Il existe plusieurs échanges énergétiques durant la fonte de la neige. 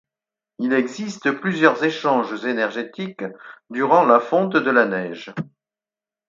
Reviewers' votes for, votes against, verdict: 4, 0, accepted